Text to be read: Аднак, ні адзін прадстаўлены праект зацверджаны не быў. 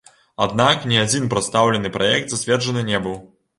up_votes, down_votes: 2, 0